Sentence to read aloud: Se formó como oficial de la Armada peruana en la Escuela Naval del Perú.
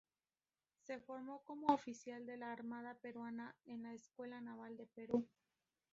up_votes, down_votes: 0, 2